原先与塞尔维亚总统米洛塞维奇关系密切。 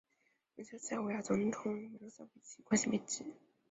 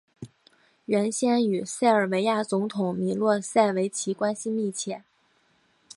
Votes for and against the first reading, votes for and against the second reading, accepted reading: 1, 2, 4, 0, second